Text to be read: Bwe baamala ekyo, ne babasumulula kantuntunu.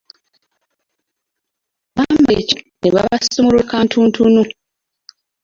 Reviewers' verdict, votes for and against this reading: rejected, 1, 2